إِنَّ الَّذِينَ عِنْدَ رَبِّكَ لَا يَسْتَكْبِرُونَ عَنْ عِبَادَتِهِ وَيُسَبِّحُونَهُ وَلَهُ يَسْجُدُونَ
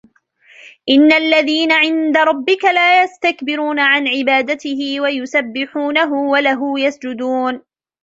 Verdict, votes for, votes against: rejected, 1, 2